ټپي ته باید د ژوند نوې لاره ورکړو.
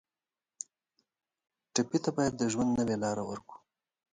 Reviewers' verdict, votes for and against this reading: accepted, 2, 0